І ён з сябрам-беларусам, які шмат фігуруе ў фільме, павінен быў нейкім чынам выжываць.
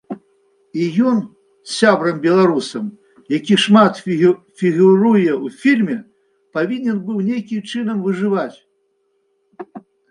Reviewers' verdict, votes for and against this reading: rejected, 0, 2